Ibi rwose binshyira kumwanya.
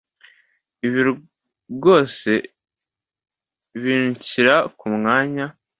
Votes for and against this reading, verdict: 2, 0, accepted